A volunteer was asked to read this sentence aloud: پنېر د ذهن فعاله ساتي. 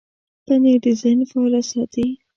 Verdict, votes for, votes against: accepted, 2, 0